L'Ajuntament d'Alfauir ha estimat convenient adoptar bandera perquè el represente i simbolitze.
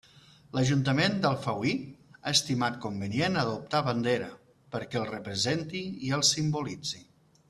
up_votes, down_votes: 0, 2